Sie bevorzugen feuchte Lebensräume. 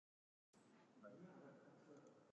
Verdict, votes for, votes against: rejected, 0, 3